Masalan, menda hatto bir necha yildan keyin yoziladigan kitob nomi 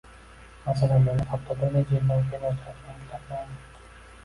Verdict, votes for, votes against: rejected, 1, 2